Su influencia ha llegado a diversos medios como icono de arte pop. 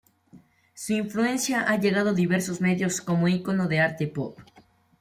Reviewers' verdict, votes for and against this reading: rejected, 1, 2